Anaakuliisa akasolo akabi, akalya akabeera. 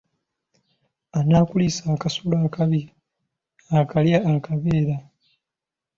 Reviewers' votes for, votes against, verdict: 2, 0, accepted